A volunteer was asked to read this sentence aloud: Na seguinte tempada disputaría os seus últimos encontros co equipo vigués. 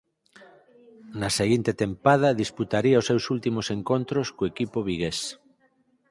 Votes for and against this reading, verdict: 4, 0, accepted